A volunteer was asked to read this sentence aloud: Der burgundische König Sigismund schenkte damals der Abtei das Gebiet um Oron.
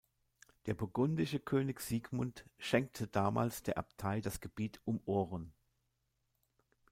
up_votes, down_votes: 1, 2